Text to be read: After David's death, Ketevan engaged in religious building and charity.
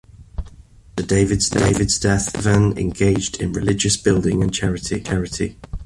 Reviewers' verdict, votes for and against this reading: rejected, 1, 2